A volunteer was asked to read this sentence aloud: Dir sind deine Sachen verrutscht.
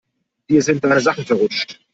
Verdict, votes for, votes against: rejected, 0, 2